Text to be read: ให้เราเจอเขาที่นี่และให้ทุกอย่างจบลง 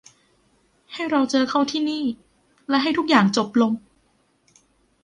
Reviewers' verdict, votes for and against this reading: accepted, 2, 0